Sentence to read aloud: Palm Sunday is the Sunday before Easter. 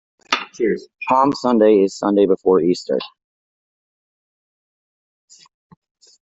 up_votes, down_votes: 1, 2